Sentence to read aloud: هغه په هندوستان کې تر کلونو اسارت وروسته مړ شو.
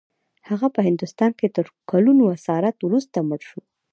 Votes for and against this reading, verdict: 0, 2, rejected